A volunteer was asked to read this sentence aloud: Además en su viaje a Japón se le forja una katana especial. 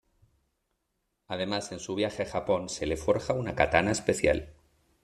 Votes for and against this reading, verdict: 0, 2, rejected